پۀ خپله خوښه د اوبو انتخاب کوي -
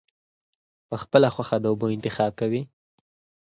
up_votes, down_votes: 0, 4